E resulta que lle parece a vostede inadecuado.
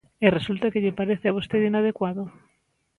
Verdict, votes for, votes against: accepted, 4, 0